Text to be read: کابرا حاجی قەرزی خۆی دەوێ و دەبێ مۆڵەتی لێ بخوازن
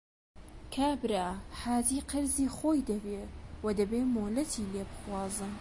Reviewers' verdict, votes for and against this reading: rejected, 1, 2